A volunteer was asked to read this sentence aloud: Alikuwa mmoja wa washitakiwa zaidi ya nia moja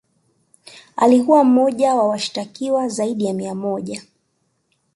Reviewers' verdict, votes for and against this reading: accepted, 2, 0